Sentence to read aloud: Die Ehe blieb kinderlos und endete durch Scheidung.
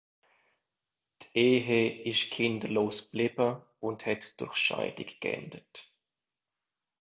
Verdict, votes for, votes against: rejected, 0, 2